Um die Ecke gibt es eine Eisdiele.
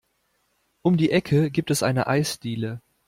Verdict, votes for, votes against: accepted, 2, 0